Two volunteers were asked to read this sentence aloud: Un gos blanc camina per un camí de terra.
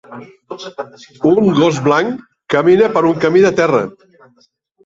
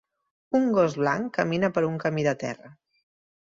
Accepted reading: second